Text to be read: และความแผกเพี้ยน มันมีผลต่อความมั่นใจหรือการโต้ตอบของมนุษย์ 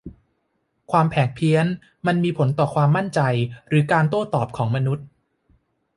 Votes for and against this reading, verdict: 1, 2, rejected